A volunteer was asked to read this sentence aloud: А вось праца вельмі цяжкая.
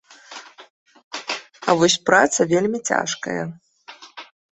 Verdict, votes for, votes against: accepted, 2, 0